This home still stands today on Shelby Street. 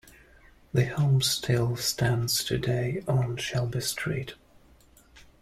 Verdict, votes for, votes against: rejected, 1, 2